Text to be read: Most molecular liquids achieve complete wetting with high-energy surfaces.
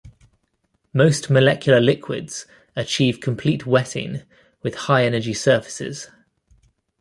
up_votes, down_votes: 2, 0